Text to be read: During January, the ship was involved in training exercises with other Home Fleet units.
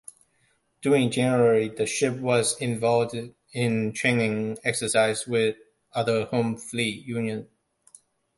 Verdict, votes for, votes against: rejected, 0, 2